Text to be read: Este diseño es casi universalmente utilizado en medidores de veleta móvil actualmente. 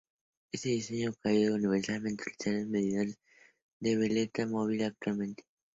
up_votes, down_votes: 0, 2